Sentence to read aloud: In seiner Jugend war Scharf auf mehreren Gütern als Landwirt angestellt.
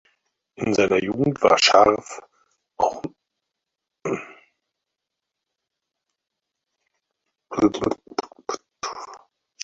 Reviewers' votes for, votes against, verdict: 0, 4, rejected